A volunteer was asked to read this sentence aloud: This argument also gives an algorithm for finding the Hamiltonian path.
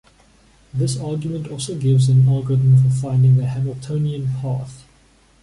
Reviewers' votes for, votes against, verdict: 2, 1, accepted